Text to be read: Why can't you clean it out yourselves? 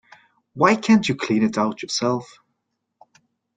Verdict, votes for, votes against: accepted, 2, 1